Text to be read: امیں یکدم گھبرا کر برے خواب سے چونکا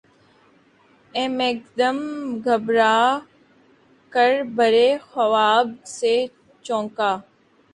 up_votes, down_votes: 0, 2